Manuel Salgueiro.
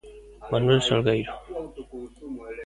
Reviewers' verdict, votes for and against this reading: rejected, 0, 2